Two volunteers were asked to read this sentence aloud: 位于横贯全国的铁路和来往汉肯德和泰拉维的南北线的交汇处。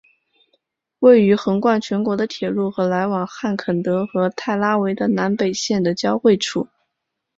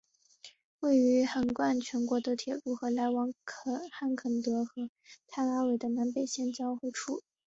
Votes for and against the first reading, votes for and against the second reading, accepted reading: 2, 0, 0, 2, first